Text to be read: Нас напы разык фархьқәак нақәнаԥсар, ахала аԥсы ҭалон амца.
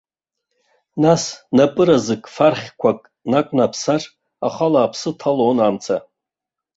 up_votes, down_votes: 2, 1